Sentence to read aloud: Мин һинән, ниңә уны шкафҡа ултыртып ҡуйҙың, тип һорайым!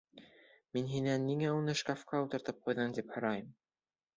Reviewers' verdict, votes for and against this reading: accepted, 2, 0